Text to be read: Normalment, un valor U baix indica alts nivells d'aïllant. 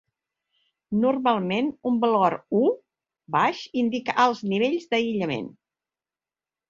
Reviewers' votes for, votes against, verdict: 2, 3, rejected